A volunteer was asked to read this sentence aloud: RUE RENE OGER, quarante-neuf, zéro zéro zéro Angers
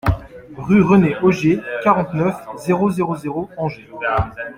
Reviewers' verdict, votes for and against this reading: rejected, 1, 2